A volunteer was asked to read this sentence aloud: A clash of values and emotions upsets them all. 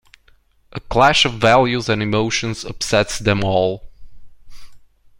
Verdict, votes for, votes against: accepted, 2, 0